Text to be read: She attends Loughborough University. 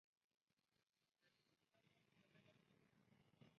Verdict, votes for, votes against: rejected, 0, 2